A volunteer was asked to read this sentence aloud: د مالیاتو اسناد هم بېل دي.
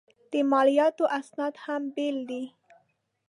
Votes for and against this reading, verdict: 2, 0, accepted